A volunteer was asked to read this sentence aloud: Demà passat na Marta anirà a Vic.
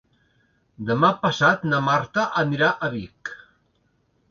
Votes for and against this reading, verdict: 3, 0, accepted